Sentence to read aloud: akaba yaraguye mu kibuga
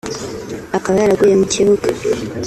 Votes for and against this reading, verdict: 2, 0, accepted